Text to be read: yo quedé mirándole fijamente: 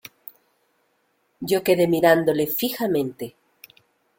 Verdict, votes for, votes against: accepted, 2, 0